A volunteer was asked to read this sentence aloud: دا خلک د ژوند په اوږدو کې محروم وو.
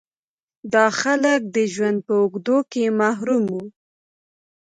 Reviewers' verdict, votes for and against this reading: accepted, 3, 0